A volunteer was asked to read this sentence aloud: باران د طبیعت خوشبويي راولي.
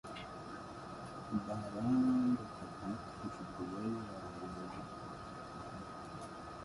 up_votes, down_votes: 0, 2